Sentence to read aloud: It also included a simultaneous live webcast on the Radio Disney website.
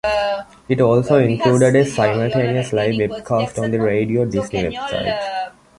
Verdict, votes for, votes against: rejected, 1, 2